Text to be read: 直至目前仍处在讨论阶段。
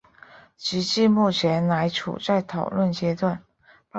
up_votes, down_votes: 4, 3